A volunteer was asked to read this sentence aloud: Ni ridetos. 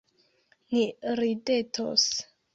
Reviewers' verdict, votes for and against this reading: accepted, 2, 0